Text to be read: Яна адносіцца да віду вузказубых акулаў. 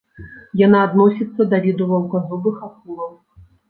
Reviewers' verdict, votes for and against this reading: rejected, 0, 2